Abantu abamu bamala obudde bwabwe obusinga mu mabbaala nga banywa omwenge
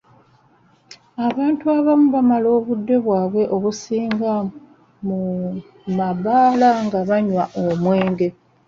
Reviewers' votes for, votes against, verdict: 2, 0, accepted